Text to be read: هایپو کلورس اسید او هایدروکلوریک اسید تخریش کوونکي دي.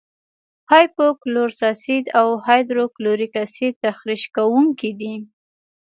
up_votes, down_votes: 1, 2